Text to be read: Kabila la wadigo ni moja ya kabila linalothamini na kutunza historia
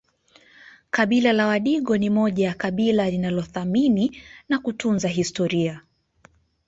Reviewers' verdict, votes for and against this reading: rejected, 1, 2